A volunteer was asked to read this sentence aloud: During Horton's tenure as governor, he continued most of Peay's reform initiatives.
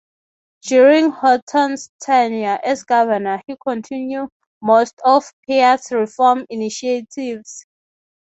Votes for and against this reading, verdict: 3, 0, accepted